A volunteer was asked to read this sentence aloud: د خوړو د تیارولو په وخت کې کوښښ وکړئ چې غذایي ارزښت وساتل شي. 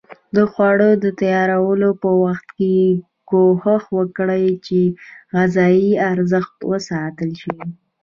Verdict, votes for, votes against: rejected, 0, 2